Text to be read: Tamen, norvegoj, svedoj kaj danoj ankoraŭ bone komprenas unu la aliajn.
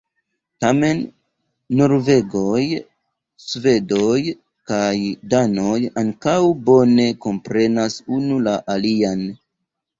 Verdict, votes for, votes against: rejected, 1, 2